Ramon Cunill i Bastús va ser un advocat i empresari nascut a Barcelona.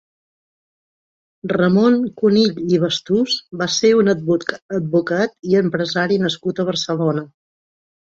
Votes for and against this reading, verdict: 0, 3, rejected